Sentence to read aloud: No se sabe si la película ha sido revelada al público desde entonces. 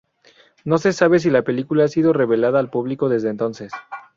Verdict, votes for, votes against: rejected, 0, 2